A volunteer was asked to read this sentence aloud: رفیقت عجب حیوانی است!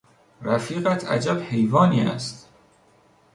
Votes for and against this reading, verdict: 2, 0, accepted